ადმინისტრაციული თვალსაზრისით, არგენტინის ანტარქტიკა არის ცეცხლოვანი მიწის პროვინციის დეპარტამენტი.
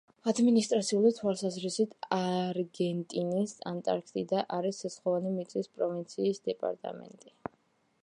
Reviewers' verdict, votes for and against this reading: rejected, 1, 2